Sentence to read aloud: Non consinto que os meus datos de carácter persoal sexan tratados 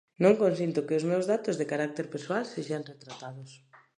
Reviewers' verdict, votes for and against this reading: rejected, 1, 2